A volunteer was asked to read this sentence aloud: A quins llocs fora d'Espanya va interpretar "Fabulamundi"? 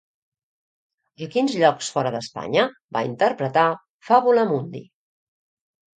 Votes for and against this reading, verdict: 1, 2, rejected